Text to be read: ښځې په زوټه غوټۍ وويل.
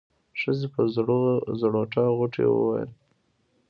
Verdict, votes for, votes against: rejected, 1, 2